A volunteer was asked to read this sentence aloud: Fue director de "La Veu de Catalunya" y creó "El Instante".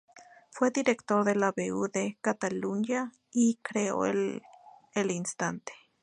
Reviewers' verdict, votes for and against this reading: rejected, 0, 2